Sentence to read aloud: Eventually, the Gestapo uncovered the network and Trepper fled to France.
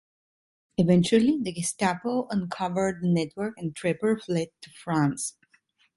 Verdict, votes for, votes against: rejected, 1, 2